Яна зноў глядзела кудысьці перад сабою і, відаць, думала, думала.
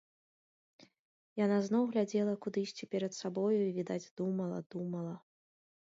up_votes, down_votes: 2, 0